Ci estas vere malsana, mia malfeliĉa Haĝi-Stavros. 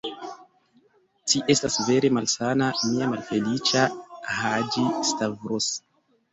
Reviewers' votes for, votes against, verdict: 2, 0, accepted